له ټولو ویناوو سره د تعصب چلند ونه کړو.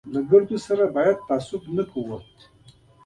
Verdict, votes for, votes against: accepted, 2, 0